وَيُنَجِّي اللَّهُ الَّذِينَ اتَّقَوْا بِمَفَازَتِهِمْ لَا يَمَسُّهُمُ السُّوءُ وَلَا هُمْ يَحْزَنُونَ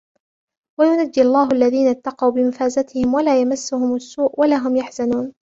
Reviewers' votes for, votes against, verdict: 0, 2, rejected